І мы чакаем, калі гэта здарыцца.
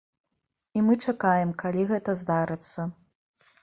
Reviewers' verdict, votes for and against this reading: accepted, 2, 0